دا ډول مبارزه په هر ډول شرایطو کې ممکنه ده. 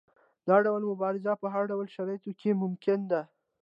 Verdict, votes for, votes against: accepted, 2, 0